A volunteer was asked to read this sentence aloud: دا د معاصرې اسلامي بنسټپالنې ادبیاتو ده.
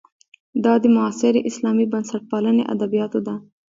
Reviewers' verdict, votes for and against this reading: rejected, 1, 2